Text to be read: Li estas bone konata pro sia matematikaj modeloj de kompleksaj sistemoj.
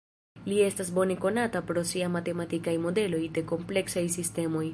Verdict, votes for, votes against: accepted, 2, 0